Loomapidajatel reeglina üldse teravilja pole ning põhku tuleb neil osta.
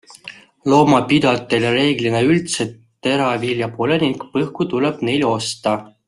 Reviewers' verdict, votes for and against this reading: accepted, 2, 0